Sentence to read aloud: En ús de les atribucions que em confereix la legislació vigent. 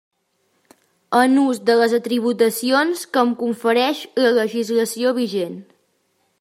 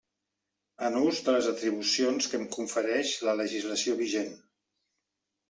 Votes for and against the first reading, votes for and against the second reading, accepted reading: 0, 2, 3, 0, second